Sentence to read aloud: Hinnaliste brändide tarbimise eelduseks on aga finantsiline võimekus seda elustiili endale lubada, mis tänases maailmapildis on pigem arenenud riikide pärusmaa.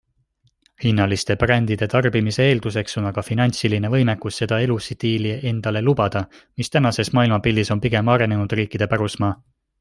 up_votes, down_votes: 2, 0